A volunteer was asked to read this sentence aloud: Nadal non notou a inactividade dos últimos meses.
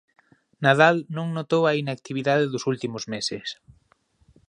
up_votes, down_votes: 2, 0